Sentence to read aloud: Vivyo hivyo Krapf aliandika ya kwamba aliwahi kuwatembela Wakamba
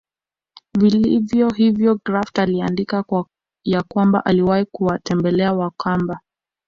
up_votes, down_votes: 0, 2